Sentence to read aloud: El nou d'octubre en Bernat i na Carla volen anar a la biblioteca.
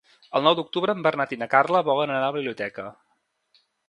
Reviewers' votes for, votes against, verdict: 4, 1, accepted